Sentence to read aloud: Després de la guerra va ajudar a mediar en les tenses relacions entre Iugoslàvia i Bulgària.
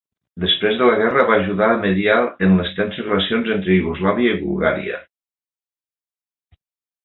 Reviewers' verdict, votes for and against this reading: accepted, 3, 0